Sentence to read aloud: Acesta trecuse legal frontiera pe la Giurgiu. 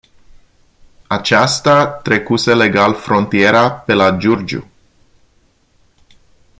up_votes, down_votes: 0, 2